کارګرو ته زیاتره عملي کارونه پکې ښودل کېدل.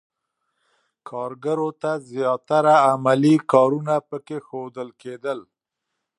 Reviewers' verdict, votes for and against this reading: accepted, 2, 1